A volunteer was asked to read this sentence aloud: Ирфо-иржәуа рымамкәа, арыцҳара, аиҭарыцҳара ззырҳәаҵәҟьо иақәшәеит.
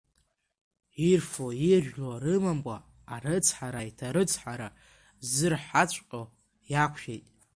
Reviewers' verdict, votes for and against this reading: rejected, 1, 2